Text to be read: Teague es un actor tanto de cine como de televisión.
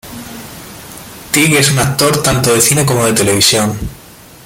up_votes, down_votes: 0, 2